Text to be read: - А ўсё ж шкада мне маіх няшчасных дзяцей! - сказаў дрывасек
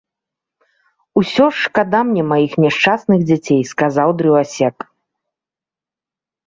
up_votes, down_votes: 1, 2